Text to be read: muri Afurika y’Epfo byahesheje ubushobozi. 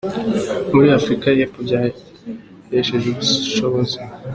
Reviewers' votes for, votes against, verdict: 2, 0, accepted